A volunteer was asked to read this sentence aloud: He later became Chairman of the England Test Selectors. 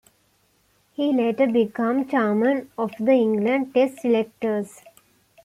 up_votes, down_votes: 0, 2